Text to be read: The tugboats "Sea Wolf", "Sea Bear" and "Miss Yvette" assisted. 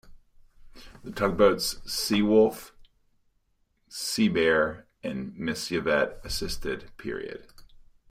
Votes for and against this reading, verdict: 0, 2, rejected